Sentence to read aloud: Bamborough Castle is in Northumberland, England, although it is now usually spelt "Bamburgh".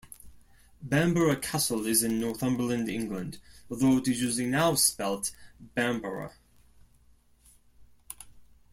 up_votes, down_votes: 1, 2